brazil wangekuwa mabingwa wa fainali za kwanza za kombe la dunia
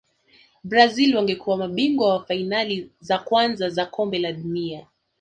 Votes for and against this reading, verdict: 0, 2, rejected